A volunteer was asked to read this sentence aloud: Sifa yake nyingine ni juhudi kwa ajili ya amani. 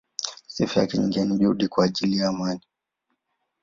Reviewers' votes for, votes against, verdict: 9, 0, accepted